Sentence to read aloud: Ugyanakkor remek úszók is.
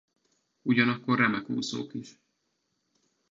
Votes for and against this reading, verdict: 2, 0, accepted